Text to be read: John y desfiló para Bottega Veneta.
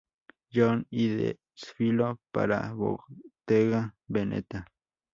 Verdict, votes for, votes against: accepted, 2, 0